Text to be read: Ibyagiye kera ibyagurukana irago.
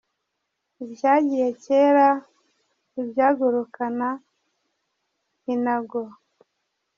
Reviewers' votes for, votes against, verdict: 0, 2, rejected